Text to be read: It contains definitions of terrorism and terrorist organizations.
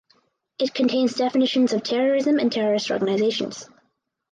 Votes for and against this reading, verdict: 4, 0, accepted